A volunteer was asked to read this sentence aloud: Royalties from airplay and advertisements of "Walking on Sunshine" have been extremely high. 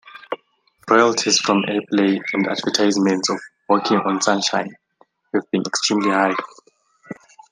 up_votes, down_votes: 2, 0